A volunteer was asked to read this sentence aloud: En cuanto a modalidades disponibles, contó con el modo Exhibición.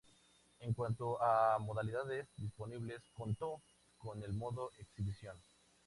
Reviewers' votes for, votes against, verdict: 4, 0, accepted